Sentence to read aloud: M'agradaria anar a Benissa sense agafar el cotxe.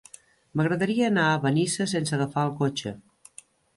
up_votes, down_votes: 3, 0